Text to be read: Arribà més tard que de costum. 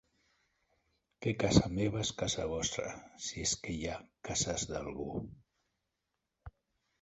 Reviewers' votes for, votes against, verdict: 0, 2, rejected